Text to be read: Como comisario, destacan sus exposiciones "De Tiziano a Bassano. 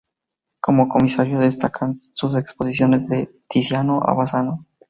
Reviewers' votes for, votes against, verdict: 4, 2, accepted